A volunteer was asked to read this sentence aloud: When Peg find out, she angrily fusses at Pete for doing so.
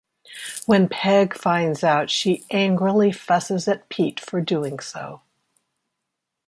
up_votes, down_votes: 2, 3